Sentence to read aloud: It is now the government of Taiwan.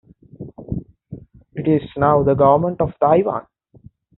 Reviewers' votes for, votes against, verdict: 2, 0, accepted